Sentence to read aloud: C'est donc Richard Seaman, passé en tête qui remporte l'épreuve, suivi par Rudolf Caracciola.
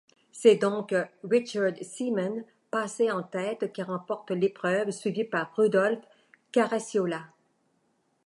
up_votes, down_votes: 2, 1